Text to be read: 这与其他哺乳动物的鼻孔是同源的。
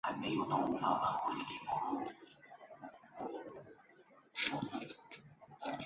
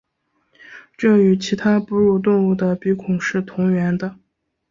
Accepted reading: second